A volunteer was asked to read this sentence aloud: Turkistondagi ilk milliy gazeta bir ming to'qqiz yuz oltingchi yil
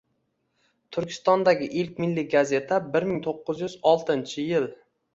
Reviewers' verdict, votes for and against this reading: accepted, 2, 0